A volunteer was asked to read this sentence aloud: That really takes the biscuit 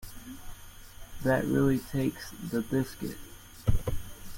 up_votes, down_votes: 2, 0